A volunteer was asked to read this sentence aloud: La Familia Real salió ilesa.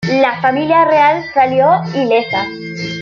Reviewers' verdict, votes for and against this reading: accepted, 2, 0